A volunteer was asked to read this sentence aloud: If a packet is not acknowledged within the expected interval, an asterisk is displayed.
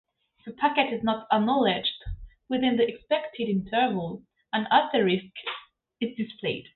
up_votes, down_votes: 0, 2